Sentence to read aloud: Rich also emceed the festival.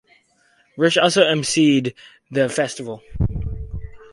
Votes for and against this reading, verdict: 4, 0, accepted